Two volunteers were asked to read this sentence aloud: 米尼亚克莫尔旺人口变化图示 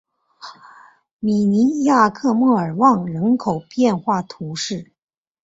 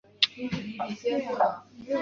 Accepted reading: first